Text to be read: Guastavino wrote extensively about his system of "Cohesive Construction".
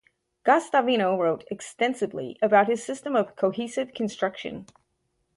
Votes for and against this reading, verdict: 4, 0, accepted